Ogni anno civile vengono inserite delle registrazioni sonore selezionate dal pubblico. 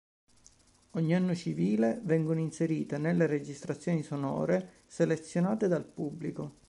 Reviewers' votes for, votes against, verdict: 1, 2, rejected